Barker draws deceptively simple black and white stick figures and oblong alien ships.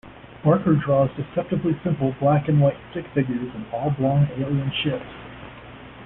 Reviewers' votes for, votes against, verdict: 1, 2, rejected